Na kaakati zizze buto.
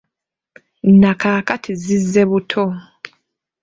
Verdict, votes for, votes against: accepted, 2, 0